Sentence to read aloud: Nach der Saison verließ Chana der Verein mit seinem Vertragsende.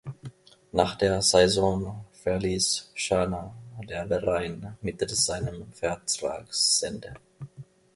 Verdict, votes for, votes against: rejected, 0, 2